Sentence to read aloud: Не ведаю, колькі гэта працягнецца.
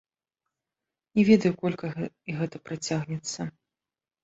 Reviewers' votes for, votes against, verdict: 1, 3, rejected